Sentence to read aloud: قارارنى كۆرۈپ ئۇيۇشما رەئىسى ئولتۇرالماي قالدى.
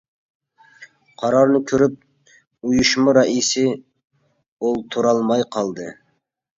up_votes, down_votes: 2, 0